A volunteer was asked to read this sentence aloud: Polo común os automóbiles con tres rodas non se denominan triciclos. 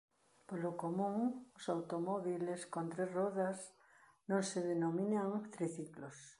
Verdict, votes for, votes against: rejected, 1, 2